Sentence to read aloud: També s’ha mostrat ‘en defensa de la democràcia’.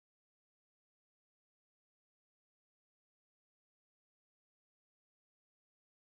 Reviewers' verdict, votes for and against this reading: rejected, 0, 6